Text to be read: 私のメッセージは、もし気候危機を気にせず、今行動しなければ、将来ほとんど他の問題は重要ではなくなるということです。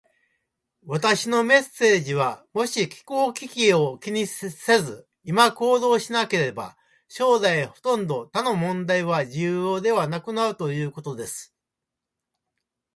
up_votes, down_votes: 2, 0